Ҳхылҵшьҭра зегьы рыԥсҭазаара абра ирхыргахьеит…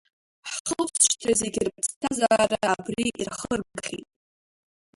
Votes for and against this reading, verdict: 0, 2, rejected